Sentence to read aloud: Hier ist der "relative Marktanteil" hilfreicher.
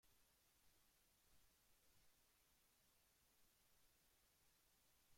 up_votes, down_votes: 0, 2